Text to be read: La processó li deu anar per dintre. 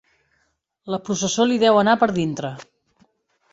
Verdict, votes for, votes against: accepted, 3, 0